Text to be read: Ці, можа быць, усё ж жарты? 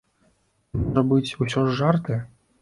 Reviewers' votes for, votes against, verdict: 1, 3, rejected